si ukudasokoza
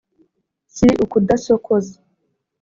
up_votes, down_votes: 2, 0